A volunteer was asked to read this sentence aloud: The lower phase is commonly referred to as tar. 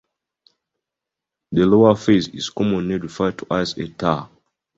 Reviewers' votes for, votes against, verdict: 0, 2, rejected